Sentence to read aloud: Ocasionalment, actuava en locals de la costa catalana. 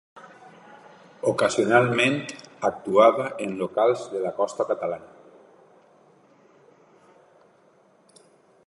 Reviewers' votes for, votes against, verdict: 2, 0, accepted